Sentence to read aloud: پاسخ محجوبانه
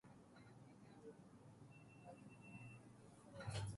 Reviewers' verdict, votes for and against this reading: rejected, 0, 2